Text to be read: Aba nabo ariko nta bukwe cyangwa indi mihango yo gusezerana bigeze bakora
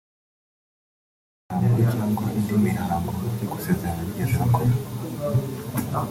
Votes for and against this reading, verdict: 0, 2, rejected